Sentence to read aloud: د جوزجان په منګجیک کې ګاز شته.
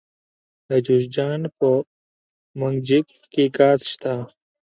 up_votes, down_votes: 1, 2